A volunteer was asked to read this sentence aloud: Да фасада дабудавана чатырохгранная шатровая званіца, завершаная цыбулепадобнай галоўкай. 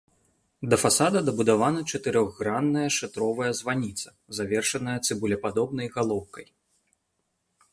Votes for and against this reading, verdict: 2, 0, accepted